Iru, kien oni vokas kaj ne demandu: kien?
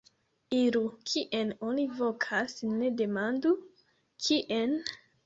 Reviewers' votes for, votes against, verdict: 1, 2, rejected